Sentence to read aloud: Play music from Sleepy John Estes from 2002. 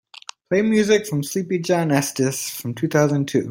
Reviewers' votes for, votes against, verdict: 0, 2, rejected